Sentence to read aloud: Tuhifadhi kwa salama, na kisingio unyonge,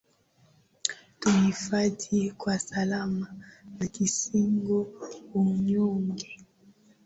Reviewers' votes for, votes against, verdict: 2, 1, accepted